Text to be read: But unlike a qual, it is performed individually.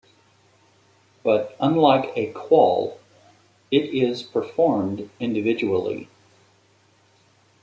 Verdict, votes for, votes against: accepted, 3, 0